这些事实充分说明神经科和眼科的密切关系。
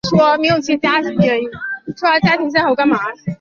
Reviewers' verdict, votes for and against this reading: rejected, 0, 4